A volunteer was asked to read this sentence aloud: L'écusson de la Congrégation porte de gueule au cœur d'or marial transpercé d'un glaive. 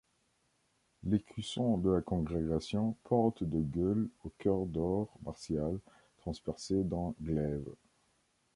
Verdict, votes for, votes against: accepted, 2, 1